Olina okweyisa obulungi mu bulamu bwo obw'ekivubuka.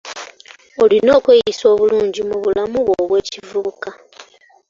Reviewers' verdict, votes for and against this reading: accepted, 2, 0